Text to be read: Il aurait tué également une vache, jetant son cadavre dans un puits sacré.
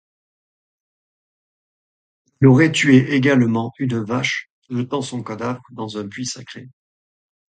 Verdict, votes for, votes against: rejected, 1, 2